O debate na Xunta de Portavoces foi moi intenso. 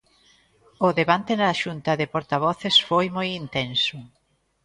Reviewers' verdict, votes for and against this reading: rejected, 1, 2